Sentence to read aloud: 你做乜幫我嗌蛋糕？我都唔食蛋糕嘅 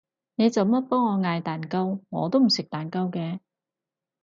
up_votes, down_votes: 4, 0